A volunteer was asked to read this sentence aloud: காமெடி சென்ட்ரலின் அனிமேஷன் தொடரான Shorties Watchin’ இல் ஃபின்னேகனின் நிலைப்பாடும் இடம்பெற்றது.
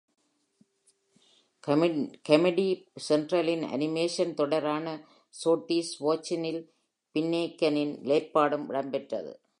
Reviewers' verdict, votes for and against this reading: rejected, 1, 2